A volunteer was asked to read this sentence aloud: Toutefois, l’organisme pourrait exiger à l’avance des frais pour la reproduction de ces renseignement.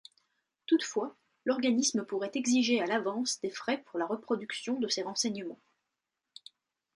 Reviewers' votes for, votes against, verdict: 2, 0, accepted